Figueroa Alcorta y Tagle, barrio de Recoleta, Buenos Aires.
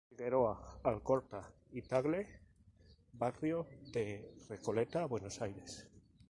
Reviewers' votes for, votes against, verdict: 4, 0, accepted